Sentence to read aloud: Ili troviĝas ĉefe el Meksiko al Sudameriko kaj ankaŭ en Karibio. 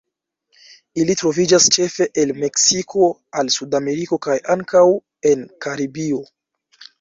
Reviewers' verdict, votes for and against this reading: accepted, 2, 1